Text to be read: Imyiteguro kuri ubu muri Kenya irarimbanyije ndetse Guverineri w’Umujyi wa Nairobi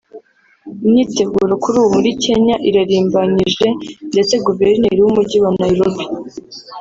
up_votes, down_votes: 3, 0